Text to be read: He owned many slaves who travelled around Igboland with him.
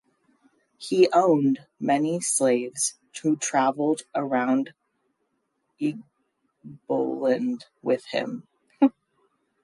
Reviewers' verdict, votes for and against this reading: rejected, 0, 2